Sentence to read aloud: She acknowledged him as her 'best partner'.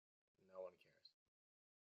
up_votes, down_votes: 0, 2